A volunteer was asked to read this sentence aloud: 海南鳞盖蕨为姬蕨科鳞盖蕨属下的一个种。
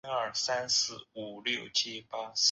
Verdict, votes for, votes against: rejected, 1, 4